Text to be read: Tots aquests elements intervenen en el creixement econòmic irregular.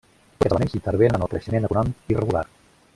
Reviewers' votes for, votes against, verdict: 0, 2, rejected